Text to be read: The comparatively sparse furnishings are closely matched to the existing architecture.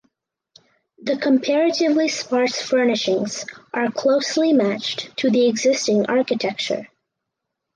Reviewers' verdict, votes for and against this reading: accepted, 4, 0